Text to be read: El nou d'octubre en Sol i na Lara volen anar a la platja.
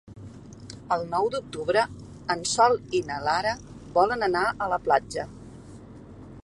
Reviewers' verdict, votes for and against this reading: accepted, 3, 0